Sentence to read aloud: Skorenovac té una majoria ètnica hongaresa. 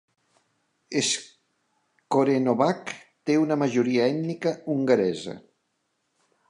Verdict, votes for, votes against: rejected, 0, 2